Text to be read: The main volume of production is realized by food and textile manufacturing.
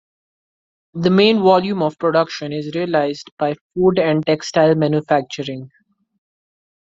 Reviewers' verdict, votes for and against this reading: accepted, 2, 0